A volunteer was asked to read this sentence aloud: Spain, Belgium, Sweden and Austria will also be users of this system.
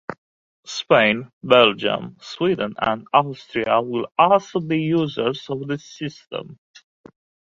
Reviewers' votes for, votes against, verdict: 2, 1, accepted